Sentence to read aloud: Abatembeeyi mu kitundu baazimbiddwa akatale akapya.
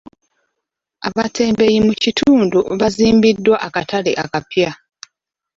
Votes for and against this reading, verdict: 0, 2, rejected